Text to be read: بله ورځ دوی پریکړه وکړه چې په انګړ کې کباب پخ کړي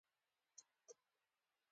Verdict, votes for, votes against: rejected, 0, 2